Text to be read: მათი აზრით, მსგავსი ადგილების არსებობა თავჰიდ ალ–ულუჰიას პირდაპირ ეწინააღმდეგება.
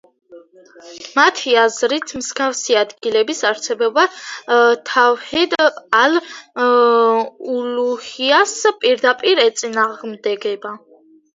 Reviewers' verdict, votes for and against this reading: accepted, 2, 1